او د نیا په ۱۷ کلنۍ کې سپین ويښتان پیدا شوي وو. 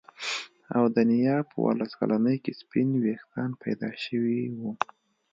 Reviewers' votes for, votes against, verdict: 0, 2, rejected